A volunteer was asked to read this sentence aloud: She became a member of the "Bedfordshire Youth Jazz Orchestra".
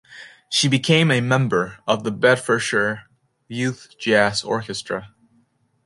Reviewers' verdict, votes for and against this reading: accepted, 2, 0